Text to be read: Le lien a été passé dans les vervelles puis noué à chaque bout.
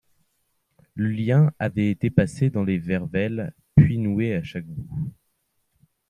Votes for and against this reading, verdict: 1, 2, rejected